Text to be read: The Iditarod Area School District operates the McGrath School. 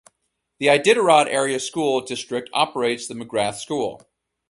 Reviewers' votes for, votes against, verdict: 4, 0, accepted